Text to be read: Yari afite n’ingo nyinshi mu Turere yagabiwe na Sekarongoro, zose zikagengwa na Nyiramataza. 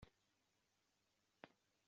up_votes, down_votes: 0, 2